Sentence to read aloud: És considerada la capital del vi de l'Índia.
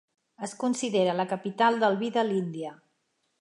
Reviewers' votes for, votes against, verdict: 0, 2, rejected